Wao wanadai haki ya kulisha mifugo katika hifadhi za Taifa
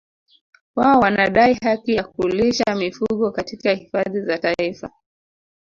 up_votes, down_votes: 2, 0